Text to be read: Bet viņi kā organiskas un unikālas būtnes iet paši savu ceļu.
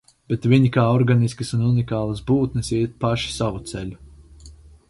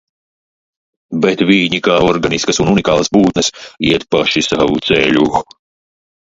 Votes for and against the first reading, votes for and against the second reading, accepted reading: 4, 0, 1, 2, first